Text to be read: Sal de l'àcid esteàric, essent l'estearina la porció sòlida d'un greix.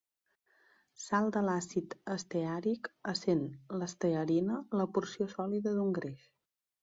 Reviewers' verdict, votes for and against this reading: rejected, 0, 2